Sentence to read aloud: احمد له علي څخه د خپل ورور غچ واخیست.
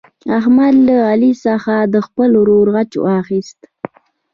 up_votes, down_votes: 2, 0